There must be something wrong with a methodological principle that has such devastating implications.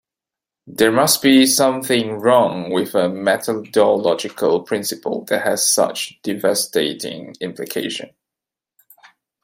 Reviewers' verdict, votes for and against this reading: rejected, 1, 2